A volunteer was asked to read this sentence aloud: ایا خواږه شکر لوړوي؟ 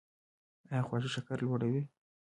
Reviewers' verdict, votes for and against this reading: accepted, 3, 0